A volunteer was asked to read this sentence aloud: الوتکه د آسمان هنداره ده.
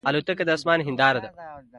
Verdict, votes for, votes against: accepted, 2, 0